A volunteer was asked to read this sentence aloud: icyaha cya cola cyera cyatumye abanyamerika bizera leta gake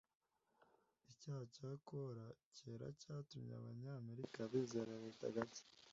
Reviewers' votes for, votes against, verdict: 1, 2, rejected